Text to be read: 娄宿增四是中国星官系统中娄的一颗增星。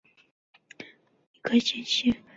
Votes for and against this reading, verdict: 0, 6, rejected